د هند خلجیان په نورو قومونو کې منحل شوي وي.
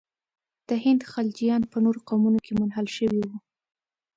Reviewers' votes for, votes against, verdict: 2, 0, accepted